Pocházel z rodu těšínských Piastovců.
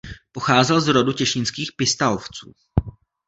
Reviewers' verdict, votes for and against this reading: rejected, 1, 2